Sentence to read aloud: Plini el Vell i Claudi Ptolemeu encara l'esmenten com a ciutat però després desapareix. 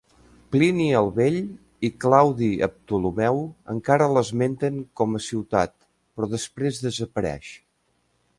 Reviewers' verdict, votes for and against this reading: rejected, 0, 2